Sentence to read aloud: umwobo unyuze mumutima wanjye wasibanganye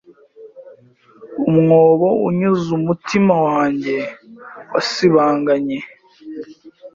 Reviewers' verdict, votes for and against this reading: rejected, 1, 2